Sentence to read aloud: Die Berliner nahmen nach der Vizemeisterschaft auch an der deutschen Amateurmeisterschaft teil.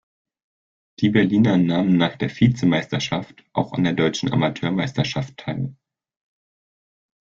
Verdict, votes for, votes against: accepted, 3, 0